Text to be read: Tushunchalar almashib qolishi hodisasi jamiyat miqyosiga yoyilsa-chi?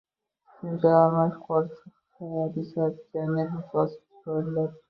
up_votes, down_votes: 0, 2